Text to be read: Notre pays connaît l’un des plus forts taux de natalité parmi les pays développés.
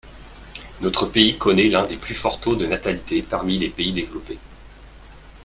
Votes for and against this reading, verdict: 5, 0, accepted